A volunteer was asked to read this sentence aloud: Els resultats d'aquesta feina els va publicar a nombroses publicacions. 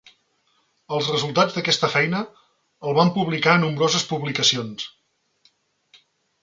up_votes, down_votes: 0, 2